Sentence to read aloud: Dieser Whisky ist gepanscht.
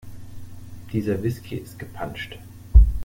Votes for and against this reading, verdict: 2, 0, accepted